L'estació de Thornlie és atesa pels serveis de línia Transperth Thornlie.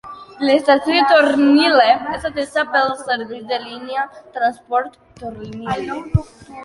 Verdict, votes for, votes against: rejected, 1, 2